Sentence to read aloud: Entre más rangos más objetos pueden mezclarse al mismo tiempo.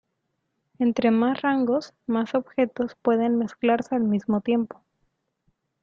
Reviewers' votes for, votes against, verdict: 3, 2, accepted